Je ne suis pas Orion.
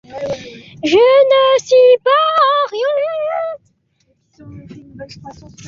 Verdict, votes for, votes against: rejected, 0, 2